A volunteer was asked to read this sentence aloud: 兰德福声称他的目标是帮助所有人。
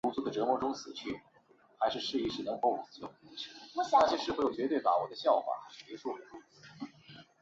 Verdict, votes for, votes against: rejected, 0, 2